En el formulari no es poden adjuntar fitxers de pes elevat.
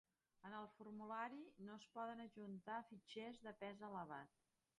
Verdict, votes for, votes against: rejected, 0, 3